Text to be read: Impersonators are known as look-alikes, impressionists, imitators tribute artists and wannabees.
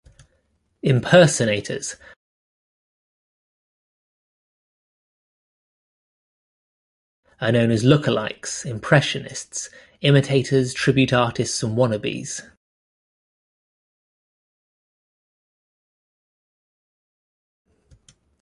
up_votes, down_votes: 0, 2